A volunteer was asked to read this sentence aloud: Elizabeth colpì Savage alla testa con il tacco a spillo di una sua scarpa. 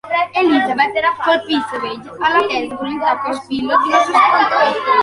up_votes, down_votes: 0, 2